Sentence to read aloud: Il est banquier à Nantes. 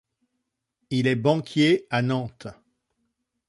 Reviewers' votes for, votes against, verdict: 2, 0, accepted